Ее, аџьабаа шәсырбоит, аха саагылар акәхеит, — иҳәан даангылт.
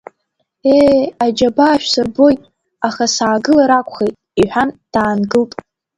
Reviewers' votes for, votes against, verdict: 2, 0, accepted